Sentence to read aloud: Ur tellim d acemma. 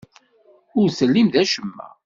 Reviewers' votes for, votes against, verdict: 2, 0, accepted